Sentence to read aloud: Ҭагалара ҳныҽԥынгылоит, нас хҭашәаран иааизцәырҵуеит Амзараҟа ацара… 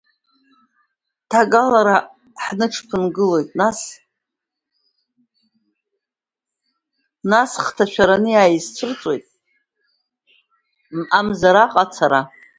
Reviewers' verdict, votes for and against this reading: rejected, 0, 2